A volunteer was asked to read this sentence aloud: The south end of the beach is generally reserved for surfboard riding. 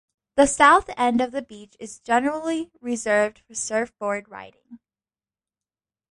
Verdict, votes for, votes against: rejected, 1, 2